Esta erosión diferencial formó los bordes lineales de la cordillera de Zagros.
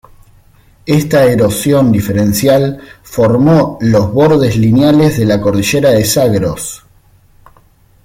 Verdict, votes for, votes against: accepted, 2, 0